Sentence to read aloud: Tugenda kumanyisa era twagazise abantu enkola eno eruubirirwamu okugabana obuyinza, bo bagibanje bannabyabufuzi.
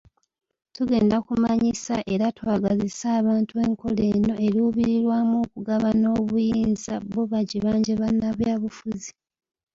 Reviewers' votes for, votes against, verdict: 2, 0, accepted